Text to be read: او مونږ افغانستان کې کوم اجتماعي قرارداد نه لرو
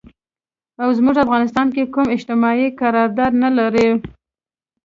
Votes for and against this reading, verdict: 2, 0, accepted